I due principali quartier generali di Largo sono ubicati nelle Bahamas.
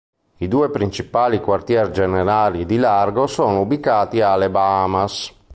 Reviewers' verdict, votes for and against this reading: rejected, 1, 2